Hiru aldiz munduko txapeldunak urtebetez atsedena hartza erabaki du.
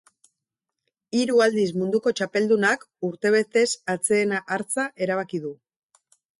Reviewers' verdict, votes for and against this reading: rejected, 2, 2